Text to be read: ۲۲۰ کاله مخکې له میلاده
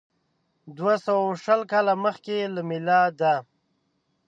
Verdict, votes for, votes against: rejected, 0, 2